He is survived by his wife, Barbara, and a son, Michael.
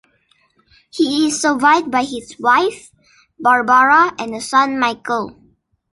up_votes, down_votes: 0, 2